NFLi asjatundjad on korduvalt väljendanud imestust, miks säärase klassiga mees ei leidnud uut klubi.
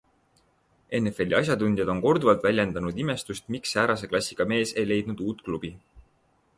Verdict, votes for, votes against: accepted, 3, 0